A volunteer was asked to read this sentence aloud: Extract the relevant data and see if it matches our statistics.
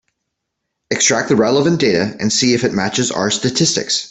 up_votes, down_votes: 2, 1